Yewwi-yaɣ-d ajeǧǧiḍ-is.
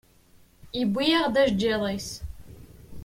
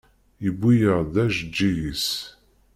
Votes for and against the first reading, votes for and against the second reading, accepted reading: 2, 0, 1, 2, first